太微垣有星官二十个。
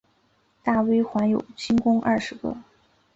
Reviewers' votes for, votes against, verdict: 0, 2, rejected